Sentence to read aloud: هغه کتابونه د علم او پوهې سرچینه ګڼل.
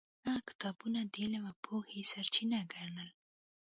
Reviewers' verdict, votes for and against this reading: rejected, 1, 2